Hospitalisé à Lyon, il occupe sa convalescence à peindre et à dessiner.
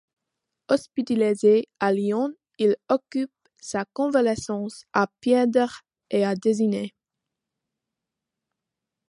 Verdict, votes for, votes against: rejected, 1, 2